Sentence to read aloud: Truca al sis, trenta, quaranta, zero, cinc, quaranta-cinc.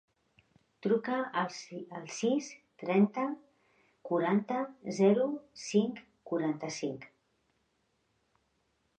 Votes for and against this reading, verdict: 0, 2, rejected